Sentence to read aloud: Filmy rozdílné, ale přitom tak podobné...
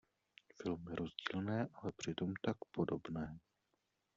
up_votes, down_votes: 0, 2